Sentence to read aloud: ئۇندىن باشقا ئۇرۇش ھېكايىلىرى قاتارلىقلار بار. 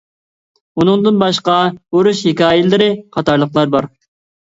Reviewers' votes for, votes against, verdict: 0, 2, rejected